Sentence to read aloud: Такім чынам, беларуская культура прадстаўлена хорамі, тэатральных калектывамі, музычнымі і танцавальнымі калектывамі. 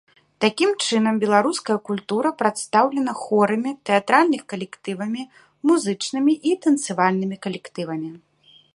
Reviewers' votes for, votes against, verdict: 2, 0, accepted